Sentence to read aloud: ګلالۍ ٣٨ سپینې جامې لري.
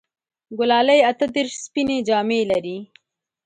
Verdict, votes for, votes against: rejected, 0, 2